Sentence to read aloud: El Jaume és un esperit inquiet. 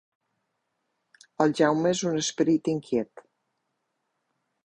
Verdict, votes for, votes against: accepted, 5, 0